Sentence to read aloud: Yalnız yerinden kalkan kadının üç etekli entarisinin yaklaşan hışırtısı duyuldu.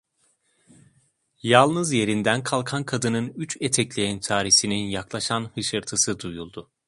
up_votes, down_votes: 2, 0